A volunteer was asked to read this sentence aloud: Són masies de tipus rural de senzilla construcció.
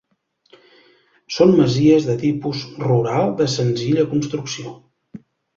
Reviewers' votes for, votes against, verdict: 2, 0, accepted